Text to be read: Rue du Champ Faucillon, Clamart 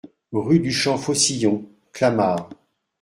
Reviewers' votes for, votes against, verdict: 2, 0, accepted